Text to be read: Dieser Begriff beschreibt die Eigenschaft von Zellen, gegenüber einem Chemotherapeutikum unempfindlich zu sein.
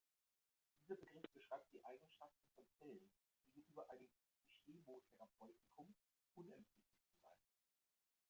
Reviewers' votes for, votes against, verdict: 0, 2, rejected